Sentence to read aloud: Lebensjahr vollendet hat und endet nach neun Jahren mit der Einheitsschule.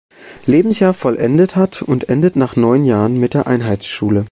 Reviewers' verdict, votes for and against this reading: accepted, 2, 0